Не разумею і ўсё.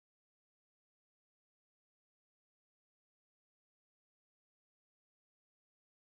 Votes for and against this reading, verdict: 1, 2, rejected